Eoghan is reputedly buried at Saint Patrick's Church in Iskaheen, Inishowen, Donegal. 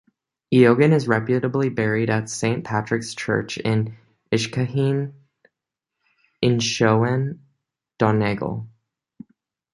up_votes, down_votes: 0, 2